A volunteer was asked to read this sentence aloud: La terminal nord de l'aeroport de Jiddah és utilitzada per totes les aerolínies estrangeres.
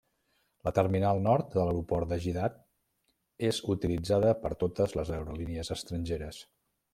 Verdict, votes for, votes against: accepted, 2, 0